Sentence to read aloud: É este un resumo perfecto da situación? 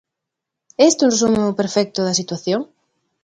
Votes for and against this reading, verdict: 2, 1, accepted